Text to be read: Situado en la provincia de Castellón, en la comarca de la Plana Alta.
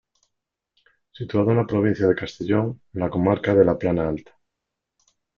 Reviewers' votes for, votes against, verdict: 2, 0, accepted